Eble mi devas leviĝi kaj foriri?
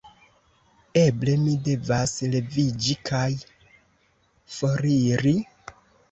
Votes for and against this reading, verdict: 1, 2, rejected